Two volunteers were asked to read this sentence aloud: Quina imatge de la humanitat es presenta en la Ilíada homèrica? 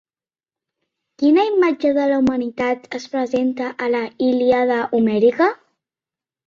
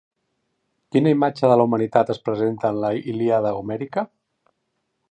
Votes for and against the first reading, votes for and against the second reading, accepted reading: 0, 2, 2, 0, second